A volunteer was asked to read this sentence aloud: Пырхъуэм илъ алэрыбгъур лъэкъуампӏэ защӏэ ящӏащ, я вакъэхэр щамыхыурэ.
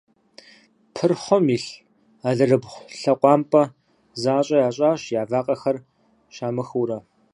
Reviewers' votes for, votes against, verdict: 2, 4, rejected